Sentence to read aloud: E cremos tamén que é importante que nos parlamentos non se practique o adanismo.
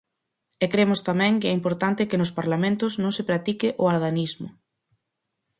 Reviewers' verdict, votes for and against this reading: accepted, 4, 0